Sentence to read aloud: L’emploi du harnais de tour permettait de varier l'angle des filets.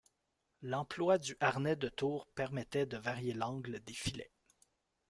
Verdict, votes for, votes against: accepted, 2, 1